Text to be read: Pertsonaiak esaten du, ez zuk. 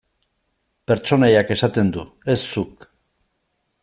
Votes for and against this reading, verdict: 2, 0, accepted